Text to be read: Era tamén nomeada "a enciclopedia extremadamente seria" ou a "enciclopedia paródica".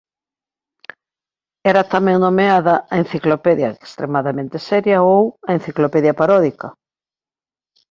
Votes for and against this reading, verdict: 2, 0, accepted